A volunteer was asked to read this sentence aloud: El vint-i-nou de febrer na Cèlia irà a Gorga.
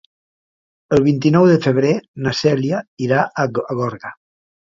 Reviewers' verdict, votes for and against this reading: rejected, 1, 2